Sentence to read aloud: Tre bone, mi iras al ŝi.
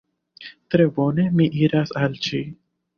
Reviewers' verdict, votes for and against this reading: rejected, 1, 2